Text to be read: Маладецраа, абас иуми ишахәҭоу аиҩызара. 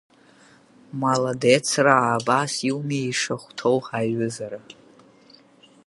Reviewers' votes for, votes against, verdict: 6, 2, accepted